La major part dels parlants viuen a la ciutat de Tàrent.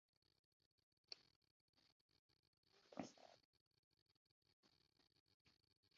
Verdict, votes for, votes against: rejected, 0, 2